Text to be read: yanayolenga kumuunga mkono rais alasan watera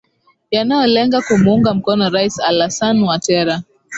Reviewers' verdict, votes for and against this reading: accepted, 2, 1